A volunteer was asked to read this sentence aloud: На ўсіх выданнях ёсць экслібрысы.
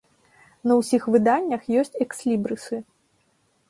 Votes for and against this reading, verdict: 2, 0, accepted